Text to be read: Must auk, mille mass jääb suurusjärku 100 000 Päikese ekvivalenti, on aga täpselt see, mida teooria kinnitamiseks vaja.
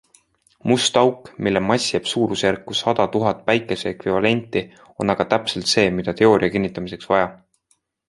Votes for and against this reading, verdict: 0, 2, rejected